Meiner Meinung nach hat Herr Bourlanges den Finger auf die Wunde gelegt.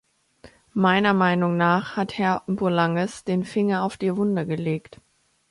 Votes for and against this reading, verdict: 2, 1, accepted